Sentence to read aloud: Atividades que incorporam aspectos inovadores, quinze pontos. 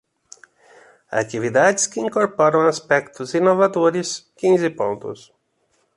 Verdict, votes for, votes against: accepted, 2, 0